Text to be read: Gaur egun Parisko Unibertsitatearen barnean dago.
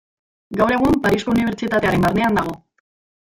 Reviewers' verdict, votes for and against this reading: rejected, 0, 2